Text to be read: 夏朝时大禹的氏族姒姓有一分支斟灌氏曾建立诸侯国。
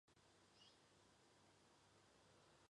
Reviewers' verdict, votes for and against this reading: rejected, 0, 2